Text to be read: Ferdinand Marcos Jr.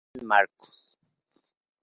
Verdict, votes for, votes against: rejected, 0, 2